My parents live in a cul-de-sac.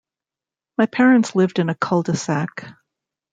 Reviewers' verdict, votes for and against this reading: rejected, 0, 2